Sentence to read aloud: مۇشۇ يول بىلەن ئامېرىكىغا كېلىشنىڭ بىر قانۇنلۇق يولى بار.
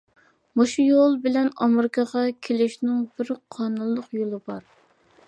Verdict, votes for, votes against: accepted, 2, 0